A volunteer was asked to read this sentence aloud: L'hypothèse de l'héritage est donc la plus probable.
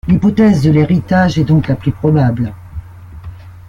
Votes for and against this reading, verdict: 2, 0, accepted